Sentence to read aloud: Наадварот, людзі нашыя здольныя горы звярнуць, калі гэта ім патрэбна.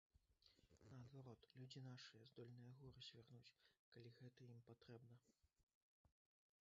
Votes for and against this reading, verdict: 0, 2, rejected